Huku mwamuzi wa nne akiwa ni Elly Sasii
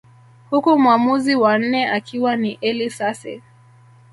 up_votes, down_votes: 1, 2